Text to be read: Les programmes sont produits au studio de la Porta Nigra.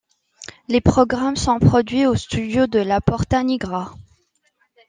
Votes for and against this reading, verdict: 2, 0, accepted